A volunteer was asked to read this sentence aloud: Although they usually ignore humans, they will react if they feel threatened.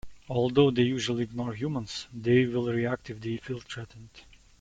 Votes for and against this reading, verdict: 2, 0, accepted